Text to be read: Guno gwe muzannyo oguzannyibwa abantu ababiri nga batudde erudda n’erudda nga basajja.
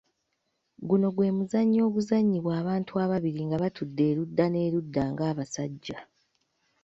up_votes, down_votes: 1, 2